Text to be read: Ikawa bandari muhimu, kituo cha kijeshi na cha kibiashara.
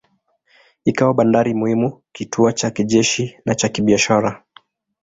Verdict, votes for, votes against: accepted, 2, 1